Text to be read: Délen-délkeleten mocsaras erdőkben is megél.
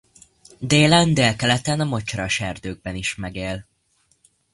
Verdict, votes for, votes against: rejected, 1, 2